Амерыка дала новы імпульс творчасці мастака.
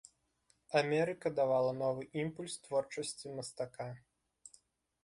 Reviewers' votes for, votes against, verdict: 0, 2, rejected